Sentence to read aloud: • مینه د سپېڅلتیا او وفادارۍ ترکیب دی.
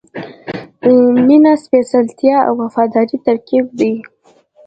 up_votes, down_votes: 2, 0